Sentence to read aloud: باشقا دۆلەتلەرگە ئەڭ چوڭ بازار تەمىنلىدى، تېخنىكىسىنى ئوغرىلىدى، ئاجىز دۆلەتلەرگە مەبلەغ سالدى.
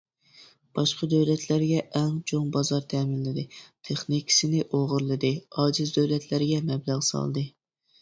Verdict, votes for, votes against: accepted, 2, 0